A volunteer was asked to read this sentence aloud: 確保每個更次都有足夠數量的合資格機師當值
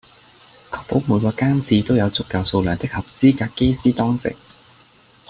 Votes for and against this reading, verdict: 2, 0, accepted